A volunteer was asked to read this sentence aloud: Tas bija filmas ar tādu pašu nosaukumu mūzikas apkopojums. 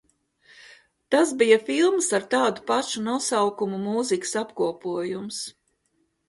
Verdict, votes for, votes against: accepted, 2, 0